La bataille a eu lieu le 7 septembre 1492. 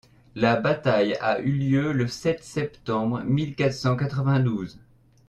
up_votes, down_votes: 0, 2